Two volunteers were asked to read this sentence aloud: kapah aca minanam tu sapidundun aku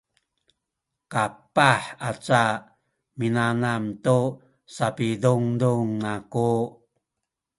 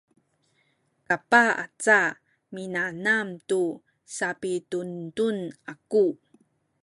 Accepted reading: second